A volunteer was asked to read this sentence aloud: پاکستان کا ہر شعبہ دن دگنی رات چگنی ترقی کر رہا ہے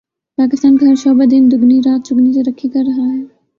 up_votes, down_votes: 0, 2